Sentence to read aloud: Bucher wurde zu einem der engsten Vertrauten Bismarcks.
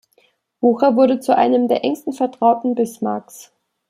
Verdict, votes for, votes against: accepted, 2, 0